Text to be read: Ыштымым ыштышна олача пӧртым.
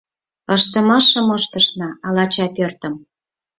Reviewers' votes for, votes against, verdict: 2, 4, rejected